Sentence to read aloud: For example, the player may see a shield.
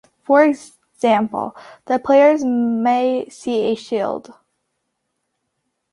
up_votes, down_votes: 2, 1